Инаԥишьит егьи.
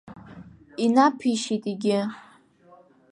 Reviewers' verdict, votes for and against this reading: rejected, 0, 2